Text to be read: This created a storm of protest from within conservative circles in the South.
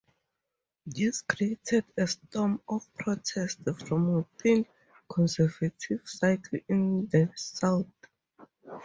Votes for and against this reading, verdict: 2, 0, accepted